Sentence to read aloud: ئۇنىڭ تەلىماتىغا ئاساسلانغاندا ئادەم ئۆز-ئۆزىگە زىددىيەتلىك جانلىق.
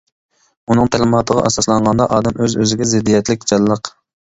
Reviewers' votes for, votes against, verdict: 2, 0, accepted